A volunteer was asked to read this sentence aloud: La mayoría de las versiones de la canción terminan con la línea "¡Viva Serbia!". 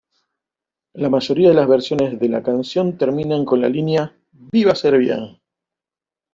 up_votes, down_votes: 1, 2